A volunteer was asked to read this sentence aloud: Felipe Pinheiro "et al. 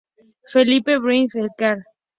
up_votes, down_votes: 0, 2